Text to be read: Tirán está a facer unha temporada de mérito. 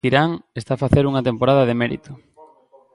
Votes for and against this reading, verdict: 1, 2, rejected